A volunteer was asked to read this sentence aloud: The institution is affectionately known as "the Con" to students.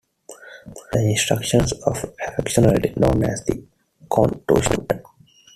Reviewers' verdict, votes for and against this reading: rejected, 0, 2